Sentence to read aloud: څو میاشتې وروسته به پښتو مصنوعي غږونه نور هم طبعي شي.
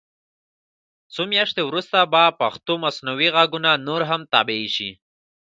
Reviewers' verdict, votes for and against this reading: accepted, 2, 0